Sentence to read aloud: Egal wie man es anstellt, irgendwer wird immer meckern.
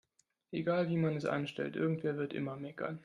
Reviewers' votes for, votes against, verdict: 2, 0, accepted